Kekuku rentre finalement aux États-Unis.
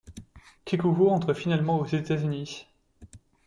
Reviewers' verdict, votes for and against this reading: accepted, 2, 0